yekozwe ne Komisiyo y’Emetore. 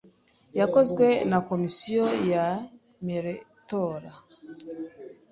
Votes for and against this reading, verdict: 1, 2, rejected